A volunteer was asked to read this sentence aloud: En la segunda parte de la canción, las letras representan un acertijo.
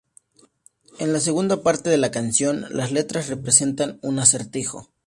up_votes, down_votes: 2, 0